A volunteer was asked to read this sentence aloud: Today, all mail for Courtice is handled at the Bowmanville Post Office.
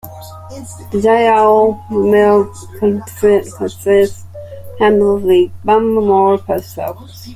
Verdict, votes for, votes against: rejected, 0, 2